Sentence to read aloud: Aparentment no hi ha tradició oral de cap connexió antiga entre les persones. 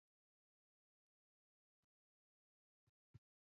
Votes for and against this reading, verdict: 1, 2, rejected